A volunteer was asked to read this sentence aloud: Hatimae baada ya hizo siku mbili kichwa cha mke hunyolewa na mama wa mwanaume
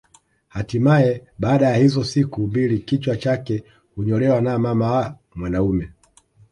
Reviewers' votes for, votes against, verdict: 2, 0, accepted